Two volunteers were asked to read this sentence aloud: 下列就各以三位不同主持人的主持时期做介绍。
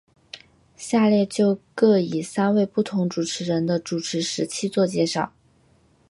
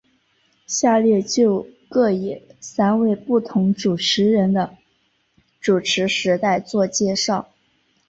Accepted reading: first